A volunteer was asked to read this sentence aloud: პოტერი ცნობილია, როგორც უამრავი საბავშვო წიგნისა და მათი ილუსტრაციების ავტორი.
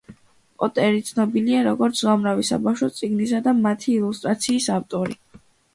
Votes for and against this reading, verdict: 2, 0, accepted